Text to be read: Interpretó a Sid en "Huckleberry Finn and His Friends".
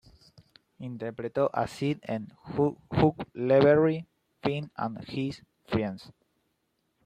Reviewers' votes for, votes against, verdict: 0, 2, rejected